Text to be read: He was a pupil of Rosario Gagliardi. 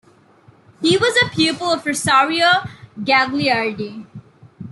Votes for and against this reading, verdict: 2, 0, accepted